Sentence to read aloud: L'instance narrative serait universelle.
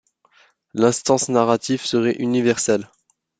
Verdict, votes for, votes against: accepted, 2, 0